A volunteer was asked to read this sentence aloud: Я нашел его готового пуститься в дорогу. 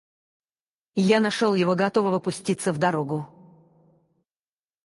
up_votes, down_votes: 4, 2